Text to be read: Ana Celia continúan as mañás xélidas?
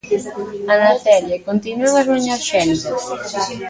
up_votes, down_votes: 0, 2